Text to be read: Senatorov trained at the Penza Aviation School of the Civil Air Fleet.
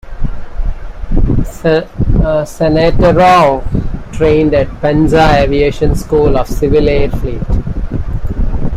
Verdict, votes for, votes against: rejected, 1, 2